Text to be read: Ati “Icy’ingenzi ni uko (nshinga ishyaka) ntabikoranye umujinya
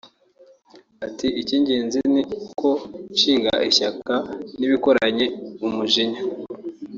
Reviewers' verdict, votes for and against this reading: rejected, 1, 2